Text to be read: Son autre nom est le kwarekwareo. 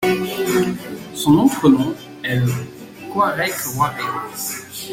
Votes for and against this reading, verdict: 0, 2, rejected